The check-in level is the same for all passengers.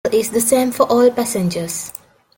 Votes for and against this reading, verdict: 0, 2, rejected